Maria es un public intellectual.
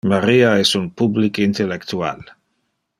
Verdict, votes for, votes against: accepted, 2, 0